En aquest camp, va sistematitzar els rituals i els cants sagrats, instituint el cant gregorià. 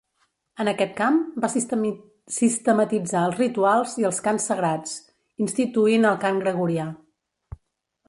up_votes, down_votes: 0, 2